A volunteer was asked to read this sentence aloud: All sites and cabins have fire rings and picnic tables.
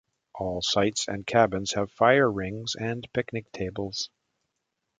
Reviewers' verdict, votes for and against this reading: accepted, 2, 0